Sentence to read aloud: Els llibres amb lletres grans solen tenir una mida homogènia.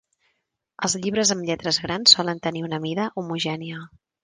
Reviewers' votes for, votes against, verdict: 2, 0, accepted